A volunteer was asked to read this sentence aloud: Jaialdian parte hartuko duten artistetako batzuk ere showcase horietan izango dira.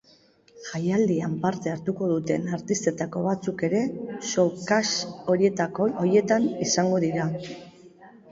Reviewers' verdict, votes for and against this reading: rejected, 1, 2